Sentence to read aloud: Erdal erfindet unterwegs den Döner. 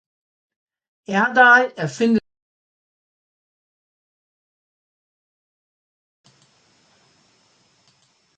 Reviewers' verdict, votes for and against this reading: rejected, 0, 2